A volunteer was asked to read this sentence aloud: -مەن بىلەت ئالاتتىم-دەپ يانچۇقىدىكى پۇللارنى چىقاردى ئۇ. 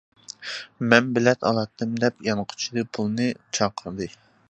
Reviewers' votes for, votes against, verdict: 0, 2, rejected